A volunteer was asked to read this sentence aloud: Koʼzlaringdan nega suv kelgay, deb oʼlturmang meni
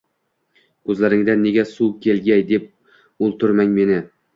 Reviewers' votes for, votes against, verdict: 2, 0, accepted